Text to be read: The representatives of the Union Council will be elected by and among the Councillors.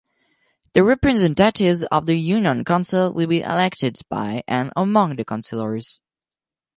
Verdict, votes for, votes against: accepted, 4, 0